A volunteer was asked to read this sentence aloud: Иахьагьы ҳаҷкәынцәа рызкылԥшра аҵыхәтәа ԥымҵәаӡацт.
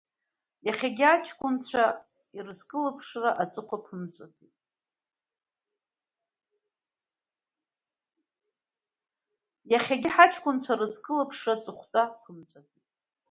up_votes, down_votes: 0, 2